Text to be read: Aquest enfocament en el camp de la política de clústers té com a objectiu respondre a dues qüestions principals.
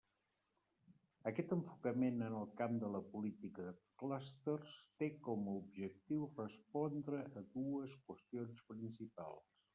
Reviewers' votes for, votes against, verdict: 0, 2, rejected